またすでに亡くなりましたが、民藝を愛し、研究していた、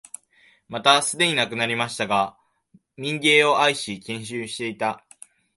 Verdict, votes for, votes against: accepted, 2, 1